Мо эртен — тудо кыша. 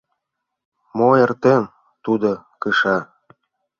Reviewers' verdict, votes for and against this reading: accepted, 2, 0